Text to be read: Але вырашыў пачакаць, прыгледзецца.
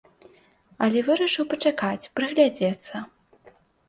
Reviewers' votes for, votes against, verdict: 0, 2, rejected